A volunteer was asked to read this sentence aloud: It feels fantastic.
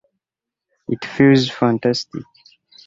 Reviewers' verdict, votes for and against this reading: accepted, 2, 0